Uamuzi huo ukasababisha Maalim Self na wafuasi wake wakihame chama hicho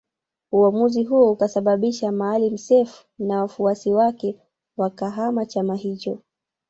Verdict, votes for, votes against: rejected, 1, 2